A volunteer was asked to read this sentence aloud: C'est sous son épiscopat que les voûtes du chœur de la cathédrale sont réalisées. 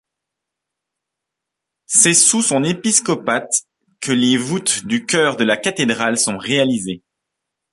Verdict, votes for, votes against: accepted, 2, 1